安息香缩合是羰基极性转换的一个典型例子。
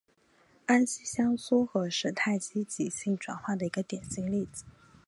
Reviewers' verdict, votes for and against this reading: rejected, 2, 2